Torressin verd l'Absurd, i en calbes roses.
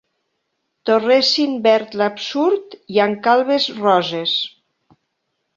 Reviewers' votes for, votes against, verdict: 2, 0, accepted